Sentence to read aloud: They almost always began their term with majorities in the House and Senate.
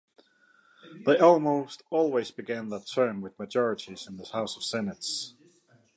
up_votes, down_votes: 2, 0